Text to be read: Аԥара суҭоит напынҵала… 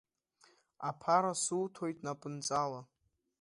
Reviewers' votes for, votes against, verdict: 2, 0, accepted